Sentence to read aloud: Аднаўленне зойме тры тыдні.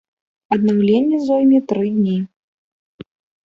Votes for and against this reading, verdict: 1, 2, rejected